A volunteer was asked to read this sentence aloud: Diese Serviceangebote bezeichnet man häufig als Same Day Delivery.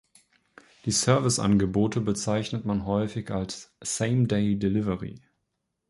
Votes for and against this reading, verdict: 1, 2, rejected